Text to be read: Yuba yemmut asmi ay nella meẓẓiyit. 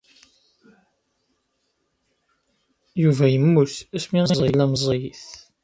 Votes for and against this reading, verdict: 0, 2, rejected